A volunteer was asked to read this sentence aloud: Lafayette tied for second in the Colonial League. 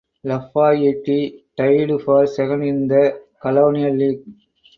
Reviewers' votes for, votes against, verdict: 0, 2, rejected